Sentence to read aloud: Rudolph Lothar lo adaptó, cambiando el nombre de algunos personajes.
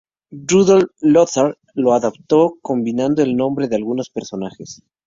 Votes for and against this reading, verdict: 2, 0, accepted